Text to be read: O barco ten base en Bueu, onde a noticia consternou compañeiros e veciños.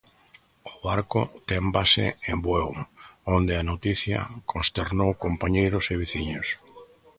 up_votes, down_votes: 2, 0